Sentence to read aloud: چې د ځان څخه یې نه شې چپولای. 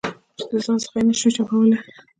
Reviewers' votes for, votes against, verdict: 2, 0, accepted